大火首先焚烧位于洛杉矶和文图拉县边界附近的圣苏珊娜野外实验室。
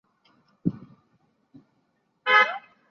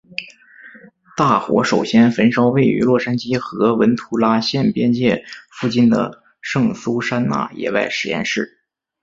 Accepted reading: second